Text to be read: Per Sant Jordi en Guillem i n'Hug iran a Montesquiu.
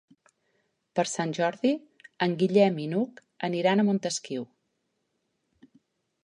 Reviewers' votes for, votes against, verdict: 0, 2, rejected